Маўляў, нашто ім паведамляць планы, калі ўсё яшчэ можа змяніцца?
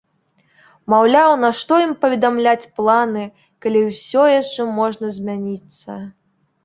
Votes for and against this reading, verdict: 1, 2, rejected